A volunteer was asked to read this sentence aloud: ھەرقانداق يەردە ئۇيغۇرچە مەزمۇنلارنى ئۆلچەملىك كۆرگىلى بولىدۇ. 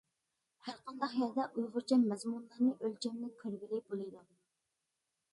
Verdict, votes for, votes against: accepted, 2, 0